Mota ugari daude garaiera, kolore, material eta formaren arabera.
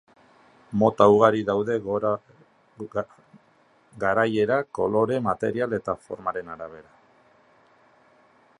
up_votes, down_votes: 0, 2